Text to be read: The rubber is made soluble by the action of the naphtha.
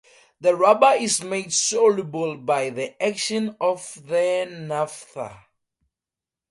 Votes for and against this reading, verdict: 4, 0, accepted